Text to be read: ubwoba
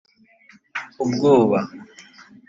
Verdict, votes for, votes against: accepted, 2, 0